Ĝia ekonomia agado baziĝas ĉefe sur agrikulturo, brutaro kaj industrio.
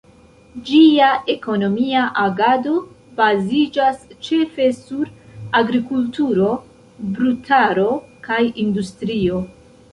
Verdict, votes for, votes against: rejected, 0, 2